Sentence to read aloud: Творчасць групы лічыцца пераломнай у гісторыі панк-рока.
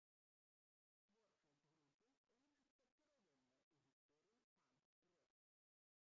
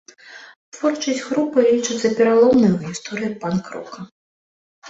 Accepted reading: second